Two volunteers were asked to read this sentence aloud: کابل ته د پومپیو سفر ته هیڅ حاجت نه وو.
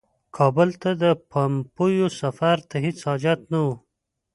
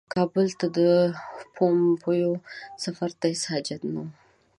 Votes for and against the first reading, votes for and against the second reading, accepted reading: 1, 2, 2, 0, second